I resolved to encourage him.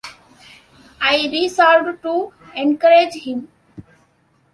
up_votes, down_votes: 2, 0